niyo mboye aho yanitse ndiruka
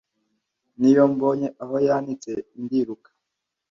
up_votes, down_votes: 0, 2